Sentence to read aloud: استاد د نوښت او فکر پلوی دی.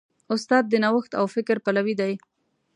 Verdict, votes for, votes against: accepted, 3, 0